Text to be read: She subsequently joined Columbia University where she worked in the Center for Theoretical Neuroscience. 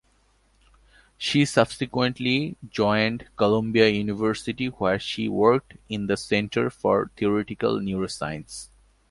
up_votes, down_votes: 2, 0